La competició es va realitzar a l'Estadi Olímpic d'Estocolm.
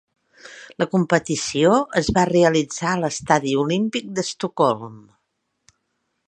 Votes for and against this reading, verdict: 3, 0, accepted